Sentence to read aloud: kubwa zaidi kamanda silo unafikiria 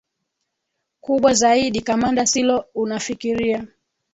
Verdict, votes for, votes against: rejected, 0, 2